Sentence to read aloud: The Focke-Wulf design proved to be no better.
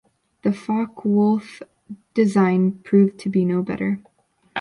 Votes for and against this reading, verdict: 2, 0, accepted